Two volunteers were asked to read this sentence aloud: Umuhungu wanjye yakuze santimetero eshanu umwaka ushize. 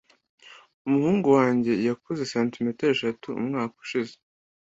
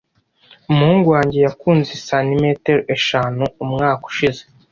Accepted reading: first